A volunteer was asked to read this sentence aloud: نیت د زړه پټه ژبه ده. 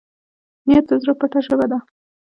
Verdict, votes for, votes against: rejected, 1, 2